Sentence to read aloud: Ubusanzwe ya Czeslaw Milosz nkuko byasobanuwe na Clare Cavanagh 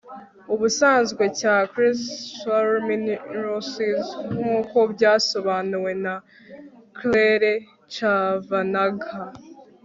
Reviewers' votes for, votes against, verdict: 1, 2, rejected